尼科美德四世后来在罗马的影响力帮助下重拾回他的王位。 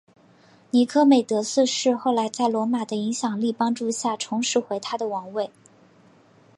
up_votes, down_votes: 2, 1